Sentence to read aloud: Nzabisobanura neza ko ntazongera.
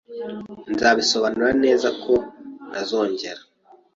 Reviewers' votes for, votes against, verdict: 2, 0, accepted